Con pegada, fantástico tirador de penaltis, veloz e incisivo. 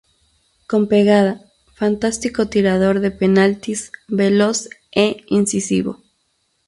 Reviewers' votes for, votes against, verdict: 0, 2, rejected